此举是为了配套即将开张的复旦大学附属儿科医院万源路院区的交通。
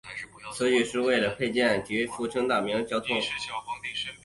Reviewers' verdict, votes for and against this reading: rejected, 0, 2